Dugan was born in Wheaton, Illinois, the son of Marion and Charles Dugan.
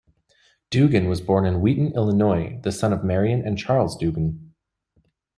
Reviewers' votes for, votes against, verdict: 2, 0, accepted